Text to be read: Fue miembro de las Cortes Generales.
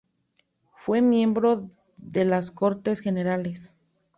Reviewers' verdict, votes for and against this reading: accepted, 3, 0